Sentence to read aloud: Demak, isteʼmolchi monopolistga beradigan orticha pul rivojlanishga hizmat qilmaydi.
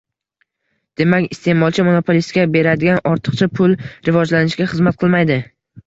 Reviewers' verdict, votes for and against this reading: accepted, 2, 0